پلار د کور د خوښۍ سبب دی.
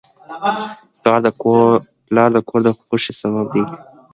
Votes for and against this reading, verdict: 2, 1, accepted